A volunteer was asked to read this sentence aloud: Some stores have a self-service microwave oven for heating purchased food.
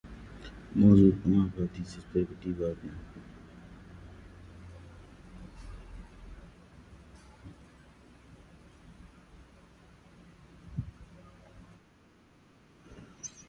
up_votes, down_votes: 0, 2